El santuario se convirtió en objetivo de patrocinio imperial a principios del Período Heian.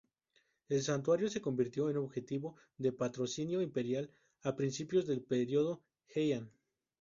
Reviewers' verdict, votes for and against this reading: accepted, 4, 0